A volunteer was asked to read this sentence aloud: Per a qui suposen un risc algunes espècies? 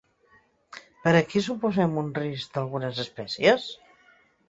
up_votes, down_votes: 1, 2